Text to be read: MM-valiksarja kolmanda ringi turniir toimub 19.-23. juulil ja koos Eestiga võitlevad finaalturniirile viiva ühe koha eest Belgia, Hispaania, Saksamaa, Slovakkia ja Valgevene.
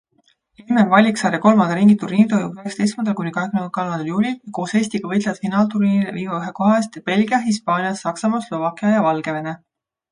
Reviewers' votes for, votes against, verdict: 0, 2, rejected